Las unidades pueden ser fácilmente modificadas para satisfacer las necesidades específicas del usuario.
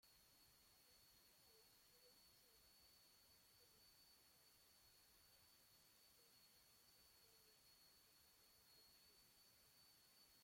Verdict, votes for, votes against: rejected, 0, 2